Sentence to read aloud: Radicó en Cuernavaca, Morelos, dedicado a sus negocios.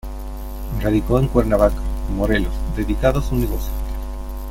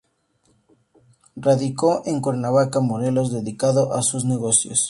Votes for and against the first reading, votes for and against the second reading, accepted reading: 1, 2, 4, 0, second